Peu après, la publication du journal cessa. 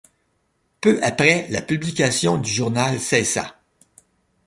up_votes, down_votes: 2, 0